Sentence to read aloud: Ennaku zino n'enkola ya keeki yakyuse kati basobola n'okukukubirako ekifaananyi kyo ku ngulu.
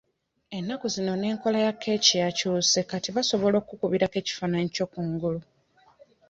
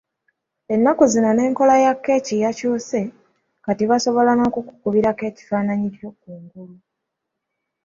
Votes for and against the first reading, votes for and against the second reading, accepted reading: 1, 2, 2, 0, second